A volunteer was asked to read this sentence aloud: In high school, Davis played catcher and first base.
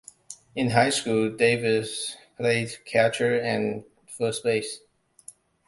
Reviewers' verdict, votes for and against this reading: accepted, 2, 0